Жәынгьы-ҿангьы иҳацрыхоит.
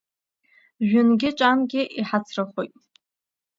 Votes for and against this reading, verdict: 0, 2, rejected